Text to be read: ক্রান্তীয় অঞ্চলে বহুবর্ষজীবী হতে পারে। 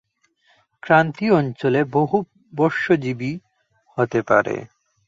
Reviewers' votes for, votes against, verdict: 2, 0, accepted